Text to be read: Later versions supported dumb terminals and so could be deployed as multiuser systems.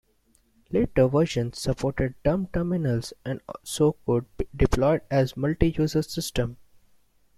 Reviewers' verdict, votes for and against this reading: rejected, 0, 2